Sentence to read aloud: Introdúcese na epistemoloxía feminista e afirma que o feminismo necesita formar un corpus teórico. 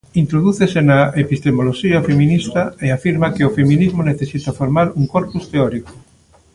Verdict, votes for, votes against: rejected, 0, 2